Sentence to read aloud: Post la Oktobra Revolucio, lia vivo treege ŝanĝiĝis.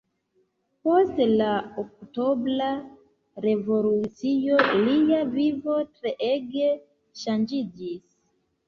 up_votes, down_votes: 0, 2